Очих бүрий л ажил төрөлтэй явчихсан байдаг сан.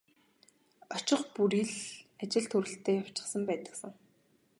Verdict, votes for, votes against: accepted, 4, 0